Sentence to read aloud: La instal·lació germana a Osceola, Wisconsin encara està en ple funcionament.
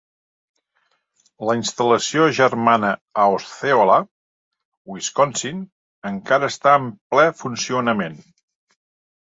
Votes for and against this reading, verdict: 4, 0, accepted